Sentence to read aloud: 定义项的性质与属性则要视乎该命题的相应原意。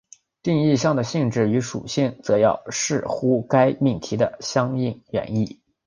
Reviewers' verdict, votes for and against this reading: accepted, 3, 0